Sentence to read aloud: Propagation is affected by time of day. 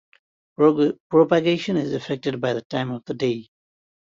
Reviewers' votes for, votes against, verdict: 0, 2, rejected